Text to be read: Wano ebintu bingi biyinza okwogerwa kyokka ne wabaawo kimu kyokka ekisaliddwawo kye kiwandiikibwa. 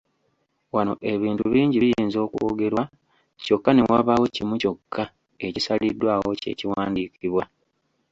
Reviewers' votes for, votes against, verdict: 2, 0, accepted